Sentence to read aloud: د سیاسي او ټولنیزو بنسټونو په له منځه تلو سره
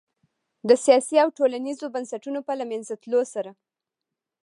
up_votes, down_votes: 2, 0